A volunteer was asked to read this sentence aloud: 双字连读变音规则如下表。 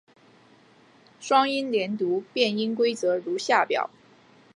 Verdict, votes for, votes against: rejected, 0, 2